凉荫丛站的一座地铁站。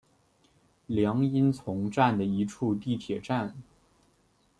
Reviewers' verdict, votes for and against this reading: rejected, 1, 2